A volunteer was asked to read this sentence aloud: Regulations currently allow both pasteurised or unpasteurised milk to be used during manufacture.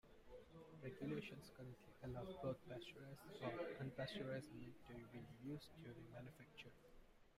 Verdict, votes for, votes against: rejected, 1, 2